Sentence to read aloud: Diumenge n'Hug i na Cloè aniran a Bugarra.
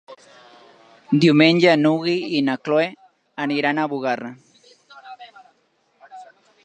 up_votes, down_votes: 1, 3